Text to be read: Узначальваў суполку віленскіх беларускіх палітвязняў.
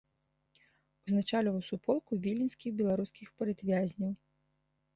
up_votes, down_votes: 2, 0